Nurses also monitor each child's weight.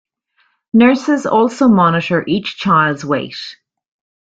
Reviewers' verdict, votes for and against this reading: accepted, 2, 0